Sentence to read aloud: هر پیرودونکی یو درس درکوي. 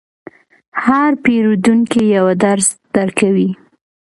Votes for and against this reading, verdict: 2, 0, accepted